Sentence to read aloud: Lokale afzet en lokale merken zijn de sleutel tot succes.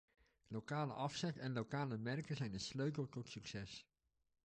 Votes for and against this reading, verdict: 1, 2, rejected